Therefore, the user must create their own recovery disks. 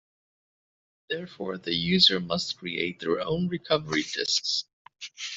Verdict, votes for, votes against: accepted, 2, 0